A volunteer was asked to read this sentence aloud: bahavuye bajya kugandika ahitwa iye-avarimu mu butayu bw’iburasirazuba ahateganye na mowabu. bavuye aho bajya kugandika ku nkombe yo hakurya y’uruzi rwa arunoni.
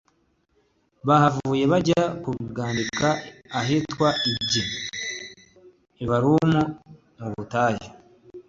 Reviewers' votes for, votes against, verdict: 1, 2, rejected